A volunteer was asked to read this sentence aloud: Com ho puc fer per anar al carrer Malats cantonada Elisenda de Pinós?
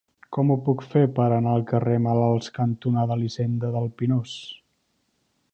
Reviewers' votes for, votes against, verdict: 0, 2, rejected